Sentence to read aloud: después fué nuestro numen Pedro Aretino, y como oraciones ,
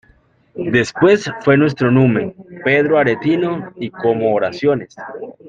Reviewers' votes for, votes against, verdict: 2, 0, accepted